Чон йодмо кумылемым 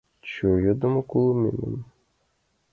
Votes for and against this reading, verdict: 0, 2, rejected